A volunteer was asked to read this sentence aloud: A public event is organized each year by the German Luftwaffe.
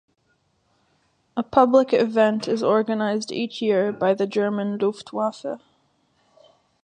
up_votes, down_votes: 2, 0